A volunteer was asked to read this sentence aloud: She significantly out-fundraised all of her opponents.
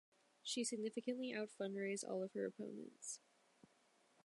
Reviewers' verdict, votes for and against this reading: accepted, 2, 0